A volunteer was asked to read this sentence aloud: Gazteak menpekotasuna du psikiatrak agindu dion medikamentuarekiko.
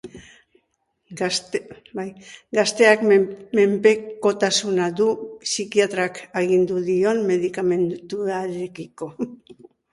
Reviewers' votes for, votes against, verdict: 0, 4, rejected